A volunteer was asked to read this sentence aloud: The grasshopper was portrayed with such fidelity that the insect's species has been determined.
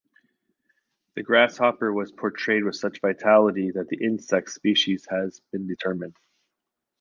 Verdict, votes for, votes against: rejected, 0, 2